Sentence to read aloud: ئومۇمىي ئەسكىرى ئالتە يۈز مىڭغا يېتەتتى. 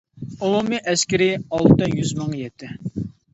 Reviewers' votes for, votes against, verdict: 0, 2, rejected